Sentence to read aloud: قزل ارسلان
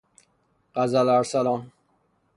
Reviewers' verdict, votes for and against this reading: rejected, 0, 3